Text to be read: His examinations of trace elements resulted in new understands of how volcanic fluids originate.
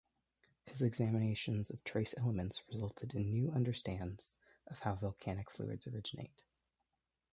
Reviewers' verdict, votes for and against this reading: accepted, 2, 1